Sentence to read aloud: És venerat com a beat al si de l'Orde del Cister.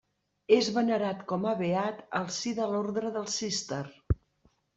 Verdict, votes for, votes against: accepted, 2, 1